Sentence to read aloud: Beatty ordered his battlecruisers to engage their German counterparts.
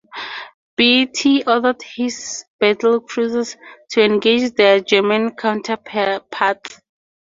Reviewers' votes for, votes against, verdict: 0, 4, rejected